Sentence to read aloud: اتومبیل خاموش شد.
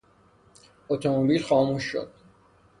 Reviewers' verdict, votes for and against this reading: accepted, 3, 0